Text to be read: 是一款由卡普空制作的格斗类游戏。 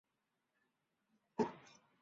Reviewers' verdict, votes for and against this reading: rejected, 0, 3